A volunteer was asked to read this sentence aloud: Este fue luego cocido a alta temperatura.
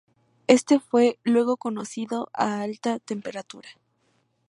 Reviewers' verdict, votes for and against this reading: rejected, 0, 2